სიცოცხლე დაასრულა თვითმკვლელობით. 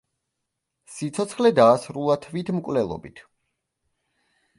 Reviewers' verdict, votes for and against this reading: accepted, 2, 0